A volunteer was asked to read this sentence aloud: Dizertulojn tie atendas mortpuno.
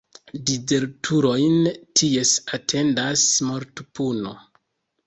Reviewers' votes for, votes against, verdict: 0, 2, rejected